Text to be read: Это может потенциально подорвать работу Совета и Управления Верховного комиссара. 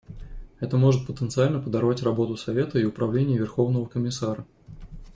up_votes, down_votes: 2, 0